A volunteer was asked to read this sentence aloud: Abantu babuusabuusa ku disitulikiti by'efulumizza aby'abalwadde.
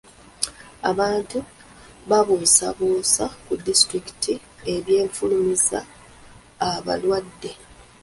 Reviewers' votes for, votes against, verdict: 1, 2, rejected